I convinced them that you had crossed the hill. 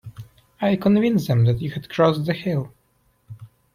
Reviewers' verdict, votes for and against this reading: accepted, 2, 0